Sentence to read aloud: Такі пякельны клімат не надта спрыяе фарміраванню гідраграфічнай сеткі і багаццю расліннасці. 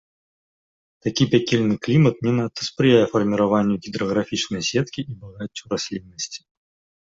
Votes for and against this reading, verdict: 4, 1, accepted